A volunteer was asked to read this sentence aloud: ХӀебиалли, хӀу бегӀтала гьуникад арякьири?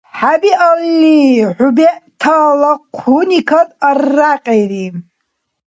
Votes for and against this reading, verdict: 1, 2, rejected